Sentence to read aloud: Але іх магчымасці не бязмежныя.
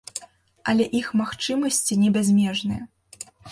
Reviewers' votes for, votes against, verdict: 2, 0, accepted